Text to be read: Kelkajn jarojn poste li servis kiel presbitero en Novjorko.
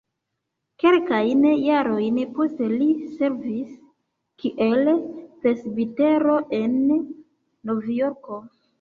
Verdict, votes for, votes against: rejected, 1, 2